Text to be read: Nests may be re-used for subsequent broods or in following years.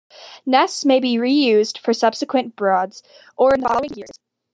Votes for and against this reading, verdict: 0, 2, rejected